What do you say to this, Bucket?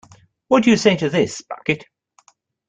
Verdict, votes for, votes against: accepted, 2, 0